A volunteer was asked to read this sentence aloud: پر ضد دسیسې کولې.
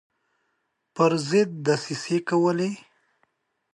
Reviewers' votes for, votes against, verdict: 2, 0, accepted